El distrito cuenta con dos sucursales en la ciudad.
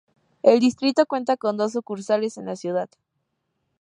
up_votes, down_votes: 4, 0